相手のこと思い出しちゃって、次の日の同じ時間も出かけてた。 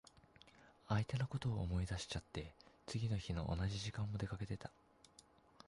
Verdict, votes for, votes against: rejected, 1, 2